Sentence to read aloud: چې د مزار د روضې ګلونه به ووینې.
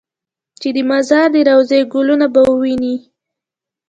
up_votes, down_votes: 2, 0